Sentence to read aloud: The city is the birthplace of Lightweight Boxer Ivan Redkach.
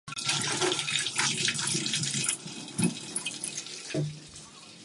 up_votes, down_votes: 0, 2